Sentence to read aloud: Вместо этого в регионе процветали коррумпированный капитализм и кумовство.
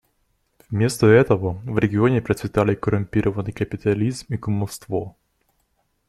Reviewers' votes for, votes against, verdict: 2, 0, accepted